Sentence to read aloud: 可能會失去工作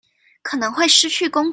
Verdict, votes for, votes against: rejected, 0, 2